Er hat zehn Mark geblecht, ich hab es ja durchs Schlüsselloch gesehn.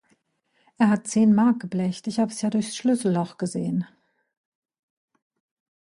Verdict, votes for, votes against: rejected, 0, 2